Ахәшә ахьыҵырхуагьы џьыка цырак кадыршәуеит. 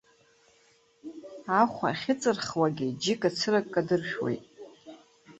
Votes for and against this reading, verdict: 0, 3, rejected